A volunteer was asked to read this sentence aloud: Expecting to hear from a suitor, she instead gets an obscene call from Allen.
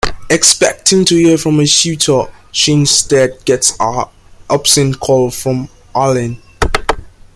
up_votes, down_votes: 1, 2